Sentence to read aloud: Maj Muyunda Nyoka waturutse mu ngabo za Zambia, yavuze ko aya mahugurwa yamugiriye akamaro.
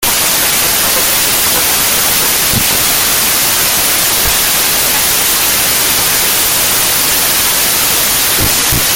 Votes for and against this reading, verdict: 0, 2, rejected